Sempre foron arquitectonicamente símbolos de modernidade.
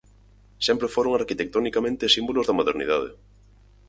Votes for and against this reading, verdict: 6, 0, accepted